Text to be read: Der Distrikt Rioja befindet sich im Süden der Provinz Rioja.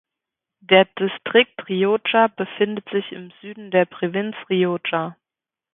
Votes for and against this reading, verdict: 0, 2, rejected